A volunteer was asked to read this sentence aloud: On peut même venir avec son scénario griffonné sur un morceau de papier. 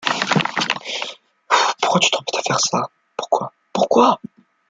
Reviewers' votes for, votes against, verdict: 0, 2, rejected